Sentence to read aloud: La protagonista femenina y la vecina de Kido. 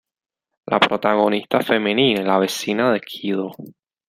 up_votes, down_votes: 1, 2